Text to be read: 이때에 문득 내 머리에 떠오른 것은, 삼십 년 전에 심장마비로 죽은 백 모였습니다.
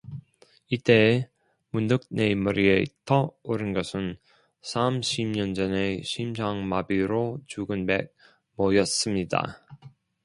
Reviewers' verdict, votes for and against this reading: rejected, 1, 2